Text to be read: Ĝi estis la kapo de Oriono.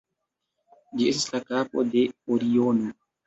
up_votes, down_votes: 1, 2